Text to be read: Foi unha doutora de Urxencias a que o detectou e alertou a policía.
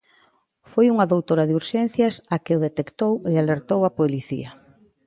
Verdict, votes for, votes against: accepted, 2, 0